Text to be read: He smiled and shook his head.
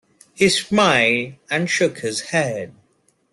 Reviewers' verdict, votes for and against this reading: rejected, 0, 2